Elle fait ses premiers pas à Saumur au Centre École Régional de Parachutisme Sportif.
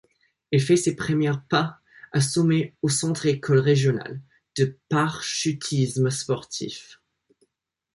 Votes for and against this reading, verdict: 1, 2, rejected